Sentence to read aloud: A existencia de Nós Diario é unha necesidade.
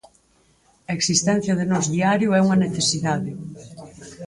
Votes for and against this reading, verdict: 6, 0, accepted